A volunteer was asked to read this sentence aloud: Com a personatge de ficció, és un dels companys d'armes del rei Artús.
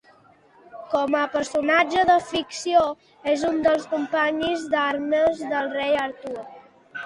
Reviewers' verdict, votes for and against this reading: rejected, 1, 2